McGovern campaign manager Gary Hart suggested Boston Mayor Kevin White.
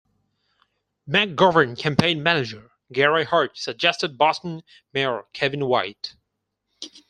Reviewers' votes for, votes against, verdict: 4, 0, accepted